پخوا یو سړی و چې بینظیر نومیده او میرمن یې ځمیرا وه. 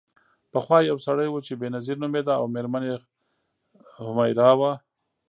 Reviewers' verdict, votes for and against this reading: rejected, 0, 2